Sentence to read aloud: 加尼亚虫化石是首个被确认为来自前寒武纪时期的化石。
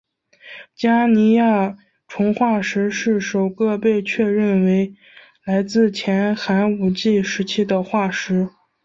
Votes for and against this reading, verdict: 3, 0, accepted